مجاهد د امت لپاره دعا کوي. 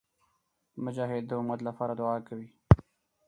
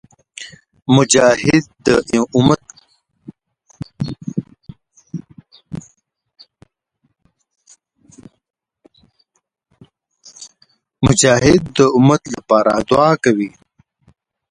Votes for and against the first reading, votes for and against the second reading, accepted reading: 4, 0, 0, 2, first